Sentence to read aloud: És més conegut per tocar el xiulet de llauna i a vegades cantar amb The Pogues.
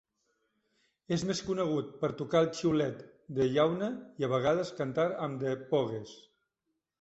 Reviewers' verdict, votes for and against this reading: rejected, 0, 2